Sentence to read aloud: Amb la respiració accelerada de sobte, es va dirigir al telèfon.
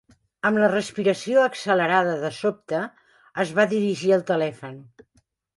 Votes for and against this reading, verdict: 2, 0, accepted